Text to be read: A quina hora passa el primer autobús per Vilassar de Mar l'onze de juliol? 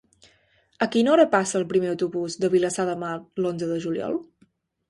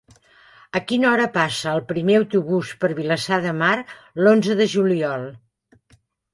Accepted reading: second